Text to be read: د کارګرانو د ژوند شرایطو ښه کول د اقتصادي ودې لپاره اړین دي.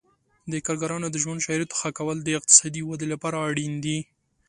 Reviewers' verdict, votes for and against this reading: accepted, 2, 0